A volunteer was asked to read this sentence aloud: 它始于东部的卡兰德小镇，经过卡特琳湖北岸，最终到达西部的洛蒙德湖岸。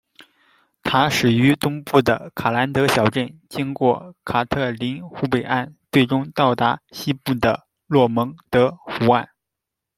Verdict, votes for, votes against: accepted, 2, 0